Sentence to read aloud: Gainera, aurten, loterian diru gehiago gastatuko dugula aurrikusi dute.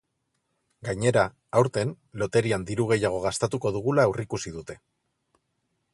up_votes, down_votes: 4, 0